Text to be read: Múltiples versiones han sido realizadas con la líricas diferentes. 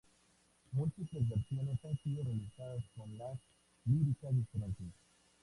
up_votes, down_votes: 0, 2